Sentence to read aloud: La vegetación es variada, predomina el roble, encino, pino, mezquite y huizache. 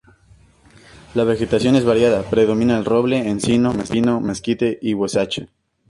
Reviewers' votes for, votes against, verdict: 2, 0, accepted